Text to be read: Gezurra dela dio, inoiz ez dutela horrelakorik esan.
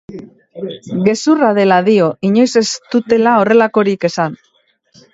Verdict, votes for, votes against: rejected, 0, 2